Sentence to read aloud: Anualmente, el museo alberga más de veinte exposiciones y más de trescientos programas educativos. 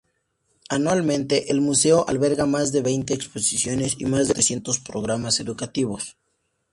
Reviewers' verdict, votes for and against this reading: accepted, 2, 0